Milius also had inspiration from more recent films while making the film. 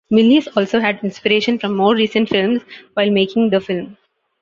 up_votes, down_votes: 2, 0